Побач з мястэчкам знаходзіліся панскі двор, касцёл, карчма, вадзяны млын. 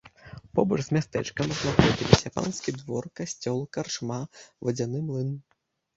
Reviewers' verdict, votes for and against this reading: rejected, 0, 2